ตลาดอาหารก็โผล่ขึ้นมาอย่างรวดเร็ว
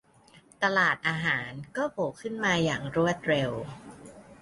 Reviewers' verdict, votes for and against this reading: accepted, 2, 0